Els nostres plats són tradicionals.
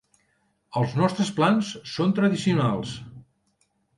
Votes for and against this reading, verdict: 0, 2, rejected